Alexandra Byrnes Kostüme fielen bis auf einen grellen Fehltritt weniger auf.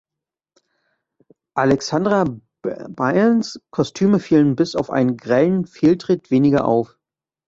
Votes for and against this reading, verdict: 0, 2, rejected